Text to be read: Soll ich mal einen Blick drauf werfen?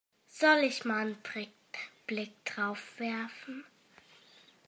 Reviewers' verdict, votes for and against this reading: rejected, 1, 2